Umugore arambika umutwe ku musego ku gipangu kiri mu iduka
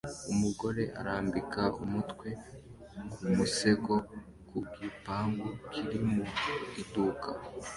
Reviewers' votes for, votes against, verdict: 2, 0, accepted